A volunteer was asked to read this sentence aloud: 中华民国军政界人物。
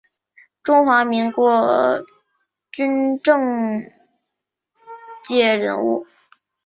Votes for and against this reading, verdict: 2, 0, accepted